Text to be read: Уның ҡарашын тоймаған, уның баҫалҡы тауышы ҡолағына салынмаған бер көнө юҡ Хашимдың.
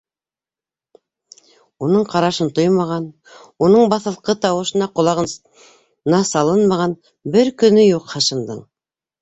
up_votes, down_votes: 0, 2